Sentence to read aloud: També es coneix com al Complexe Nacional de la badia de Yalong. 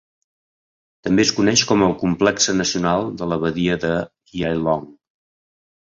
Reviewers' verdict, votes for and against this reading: rejected, 0, 2